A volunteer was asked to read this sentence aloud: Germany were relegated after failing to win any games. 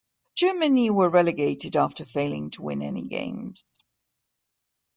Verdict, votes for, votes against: accepted, 2, 0